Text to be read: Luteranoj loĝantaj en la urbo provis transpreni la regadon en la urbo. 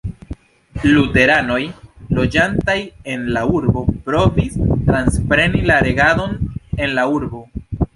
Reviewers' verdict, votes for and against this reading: accepted, 2, 0